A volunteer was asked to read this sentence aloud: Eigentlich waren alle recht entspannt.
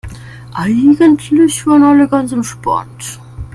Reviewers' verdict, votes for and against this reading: rejected, 0, 2